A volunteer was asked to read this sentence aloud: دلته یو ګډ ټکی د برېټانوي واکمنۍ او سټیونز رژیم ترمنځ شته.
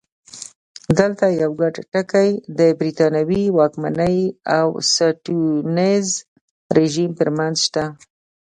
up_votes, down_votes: 2, 0